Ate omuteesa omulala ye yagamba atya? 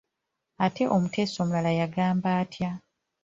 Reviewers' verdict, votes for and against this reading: rejected, 1, 2